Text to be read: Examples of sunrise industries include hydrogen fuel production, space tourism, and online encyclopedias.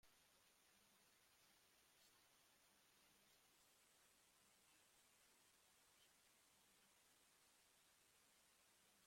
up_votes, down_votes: 0, 2